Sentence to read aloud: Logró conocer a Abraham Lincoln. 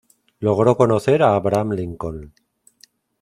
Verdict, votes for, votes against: accepted, 2, 0